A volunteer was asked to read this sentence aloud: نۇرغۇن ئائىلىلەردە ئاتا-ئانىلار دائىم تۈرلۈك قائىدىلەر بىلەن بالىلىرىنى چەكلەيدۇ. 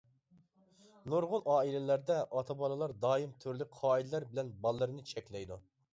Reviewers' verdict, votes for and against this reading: rejected, 0, 2